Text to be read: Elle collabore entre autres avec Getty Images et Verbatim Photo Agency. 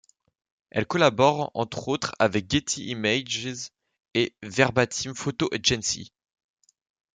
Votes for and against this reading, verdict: 2, 0, accepted